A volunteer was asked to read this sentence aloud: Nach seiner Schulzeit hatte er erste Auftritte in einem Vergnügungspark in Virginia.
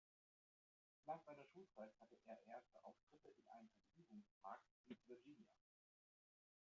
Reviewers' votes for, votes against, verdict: 0, 2, rejected